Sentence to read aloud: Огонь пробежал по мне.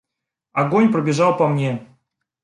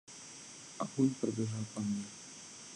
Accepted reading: first